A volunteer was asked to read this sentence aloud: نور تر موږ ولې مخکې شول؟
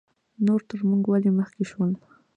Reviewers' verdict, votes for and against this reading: accepted, 2, 0